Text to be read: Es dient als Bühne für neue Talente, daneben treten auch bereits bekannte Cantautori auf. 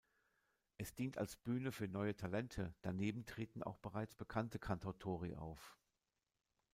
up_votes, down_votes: 2, 0